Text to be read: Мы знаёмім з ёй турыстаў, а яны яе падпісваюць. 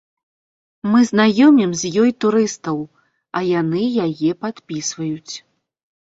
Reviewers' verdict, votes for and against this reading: accepted, 3, 0